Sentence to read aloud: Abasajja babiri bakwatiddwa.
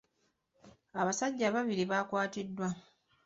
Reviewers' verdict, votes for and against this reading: rejected, 0, 2